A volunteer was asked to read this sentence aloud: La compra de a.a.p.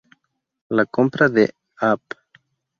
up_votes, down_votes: 0, 2